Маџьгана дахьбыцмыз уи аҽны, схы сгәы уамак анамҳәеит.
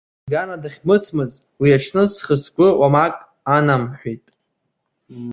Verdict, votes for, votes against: rejected, 0, 2